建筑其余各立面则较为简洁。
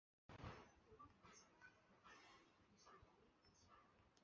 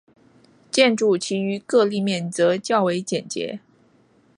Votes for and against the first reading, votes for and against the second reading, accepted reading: 0, 2, 2, 0, second